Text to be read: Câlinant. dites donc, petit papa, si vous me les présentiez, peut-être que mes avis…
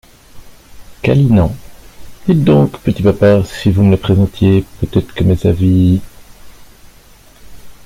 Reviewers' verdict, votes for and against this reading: accepted, 2, 0